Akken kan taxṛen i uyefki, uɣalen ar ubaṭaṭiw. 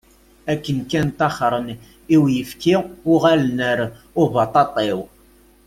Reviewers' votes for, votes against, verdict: 1, 2, rejected